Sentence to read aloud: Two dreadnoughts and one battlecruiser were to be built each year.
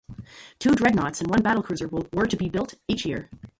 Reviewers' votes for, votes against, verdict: 0, 2, rejected